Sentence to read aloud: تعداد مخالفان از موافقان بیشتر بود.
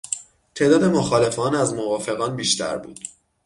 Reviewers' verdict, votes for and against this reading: accepted, 6, 0